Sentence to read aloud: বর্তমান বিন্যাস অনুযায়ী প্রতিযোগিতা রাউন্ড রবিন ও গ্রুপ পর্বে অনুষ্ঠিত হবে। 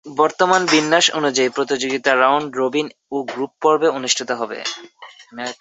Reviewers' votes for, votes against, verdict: 2, 0, accepted